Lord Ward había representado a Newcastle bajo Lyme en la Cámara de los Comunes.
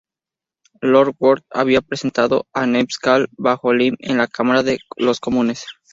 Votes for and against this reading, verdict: 0, 2, rejected